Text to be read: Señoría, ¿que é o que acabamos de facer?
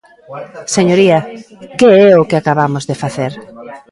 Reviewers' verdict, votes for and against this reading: rejected, 1, 2